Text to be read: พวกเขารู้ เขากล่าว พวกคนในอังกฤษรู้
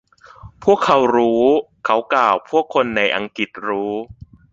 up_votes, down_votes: 2, 0